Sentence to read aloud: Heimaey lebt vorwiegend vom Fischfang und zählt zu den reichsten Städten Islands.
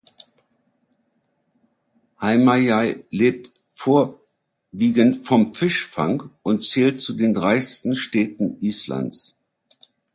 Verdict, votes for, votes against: rejected, 1, 2